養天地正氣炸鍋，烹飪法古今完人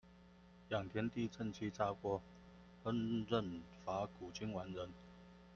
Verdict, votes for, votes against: rejected, 1, 2